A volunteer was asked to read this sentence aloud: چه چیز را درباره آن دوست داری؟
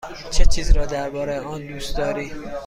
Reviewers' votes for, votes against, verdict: 2, 0, accepted